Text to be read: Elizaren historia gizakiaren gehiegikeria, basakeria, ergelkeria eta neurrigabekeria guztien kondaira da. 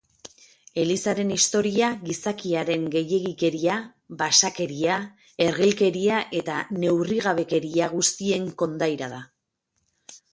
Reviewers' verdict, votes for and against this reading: rejected, 2, 2